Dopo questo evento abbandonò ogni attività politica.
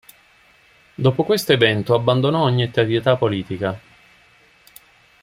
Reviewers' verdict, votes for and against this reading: rejected, 0, 2